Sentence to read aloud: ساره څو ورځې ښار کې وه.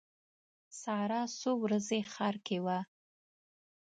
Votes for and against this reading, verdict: 2, 0, accepted